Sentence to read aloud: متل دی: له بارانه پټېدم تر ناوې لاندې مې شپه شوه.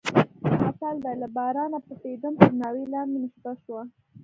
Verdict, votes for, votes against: accepted, 2, 0